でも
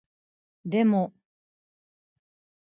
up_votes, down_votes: 2, 0